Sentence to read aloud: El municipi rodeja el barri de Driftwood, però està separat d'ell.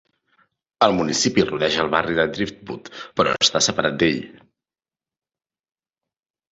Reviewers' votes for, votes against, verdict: 3, 0, accepted